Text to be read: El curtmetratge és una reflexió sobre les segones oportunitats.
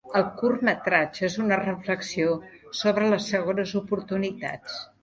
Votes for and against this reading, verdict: 3, 0, accepted